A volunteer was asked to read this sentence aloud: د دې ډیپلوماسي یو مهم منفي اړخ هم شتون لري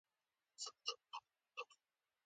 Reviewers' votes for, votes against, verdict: 0, 2, rejected